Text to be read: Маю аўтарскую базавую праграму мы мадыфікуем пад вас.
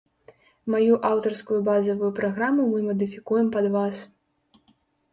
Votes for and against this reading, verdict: 2, 0, accepted